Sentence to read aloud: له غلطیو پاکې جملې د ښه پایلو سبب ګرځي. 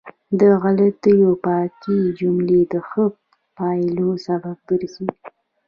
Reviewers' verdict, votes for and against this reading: rejected, 0, 2